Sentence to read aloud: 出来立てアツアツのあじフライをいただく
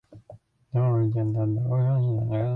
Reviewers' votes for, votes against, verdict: 0, 2, rejected